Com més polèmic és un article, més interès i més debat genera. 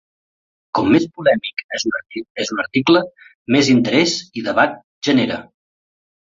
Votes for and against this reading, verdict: 0, 6, rejected